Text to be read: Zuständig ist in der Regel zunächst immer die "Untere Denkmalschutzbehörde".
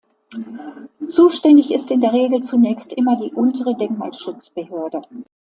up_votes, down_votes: 2, 0